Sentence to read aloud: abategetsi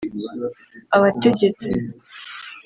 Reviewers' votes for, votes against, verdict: 2, 0, accepted